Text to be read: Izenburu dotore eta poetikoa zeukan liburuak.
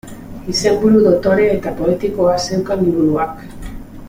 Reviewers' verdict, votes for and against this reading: accepted, 2, 0